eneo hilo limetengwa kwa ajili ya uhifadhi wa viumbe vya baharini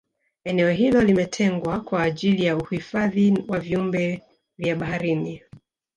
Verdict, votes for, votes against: rejected, 1, 2